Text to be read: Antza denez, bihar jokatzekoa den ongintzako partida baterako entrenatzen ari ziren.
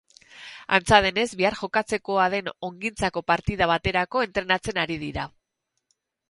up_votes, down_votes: 0, 6